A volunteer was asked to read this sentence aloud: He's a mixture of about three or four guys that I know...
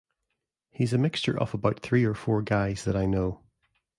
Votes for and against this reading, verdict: 2, 0, accepted